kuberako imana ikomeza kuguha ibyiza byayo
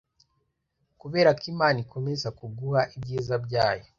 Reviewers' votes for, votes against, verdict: 2, 0, accepted